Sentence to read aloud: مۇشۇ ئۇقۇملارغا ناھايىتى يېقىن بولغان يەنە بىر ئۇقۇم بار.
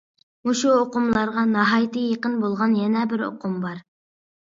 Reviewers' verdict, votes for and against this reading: accepted, 2, 0